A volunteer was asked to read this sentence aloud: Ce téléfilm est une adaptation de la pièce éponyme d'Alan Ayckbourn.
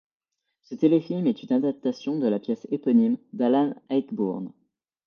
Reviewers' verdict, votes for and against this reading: accepted, 2, 0